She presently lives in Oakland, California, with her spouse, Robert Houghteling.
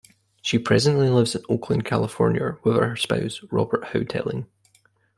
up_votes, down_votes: 1, 2